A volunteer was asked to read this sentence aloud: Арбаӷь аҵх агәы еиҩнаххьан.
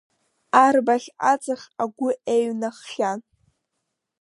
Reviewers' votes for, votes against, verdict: 2, 0, accepted